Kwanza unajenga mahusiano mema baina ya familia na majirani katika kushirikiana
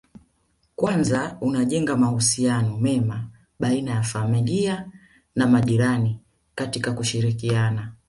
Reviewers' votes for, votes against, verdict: 2, 0, accepted